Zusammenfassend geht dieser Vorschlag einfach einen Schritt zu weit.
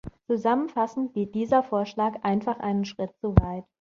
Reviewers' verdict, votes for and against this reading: accepted, 2, 0